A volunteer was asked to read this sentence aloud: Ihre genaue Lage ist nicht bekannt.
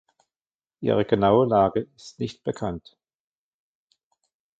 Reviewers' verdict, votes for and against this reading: rejected, 0, 2